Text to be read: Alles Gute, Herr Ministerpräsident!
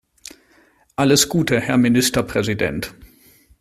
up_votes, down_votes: 2, 0